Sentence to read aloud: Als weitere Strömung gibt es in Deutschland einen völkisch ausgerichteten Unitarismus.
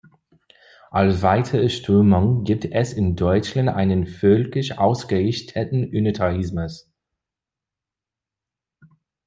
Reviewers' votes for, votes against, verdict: 0, 2, rejected